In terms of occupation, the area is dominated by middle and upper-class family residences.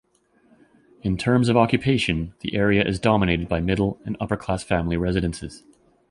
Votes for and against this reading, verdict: 2, 0, accepted